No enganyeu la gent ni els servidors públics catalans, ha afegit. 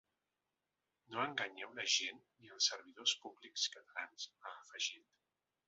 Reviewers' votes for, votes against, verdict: 1, 2, rejected